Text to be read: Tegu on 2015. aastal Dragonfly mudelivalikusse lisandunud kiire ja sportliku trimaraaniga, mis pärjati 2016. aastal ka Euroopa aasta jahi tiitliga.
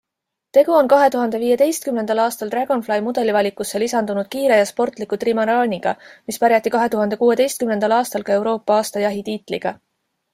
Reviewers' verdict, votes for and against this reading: rejected, 0, 2